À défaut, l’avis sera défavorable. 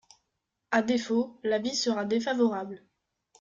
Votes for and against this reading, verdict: 2, 0, accepted